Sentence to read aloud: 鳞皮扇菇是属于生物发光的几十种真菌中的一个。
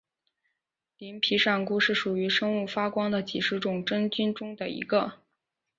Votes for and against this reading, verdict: 2, 0, accepted